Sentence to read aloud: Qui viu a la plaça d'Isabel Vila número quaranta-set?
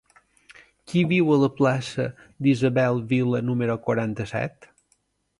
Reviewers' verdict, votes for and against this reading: accepted, 2, 0